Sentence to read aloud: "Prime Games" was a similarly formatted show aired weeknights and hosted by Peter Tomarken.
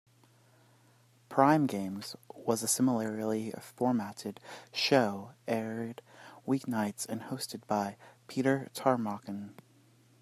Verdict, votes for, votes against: rejected, 1, 2